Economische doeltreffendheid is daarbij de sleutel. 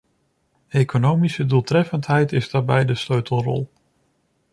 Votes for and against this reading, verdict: 0, 2, rejected